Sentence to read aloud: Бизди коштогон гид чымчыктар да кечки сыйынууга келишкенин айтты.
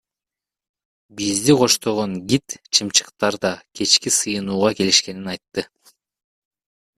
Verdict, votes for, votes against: rejected, 1, 2